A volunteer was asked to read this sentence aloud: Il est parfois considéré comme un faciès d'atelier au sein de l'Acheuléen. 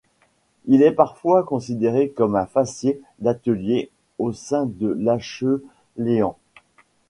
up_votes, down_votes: 1, 2